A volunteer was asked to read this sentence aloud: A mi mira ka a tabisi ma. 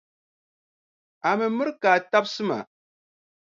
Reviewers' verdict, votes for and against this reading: accepted, 2, 0